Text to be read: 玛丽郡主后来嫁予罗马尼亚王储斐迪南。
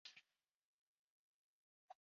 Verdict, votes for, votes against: rejected, 0, 2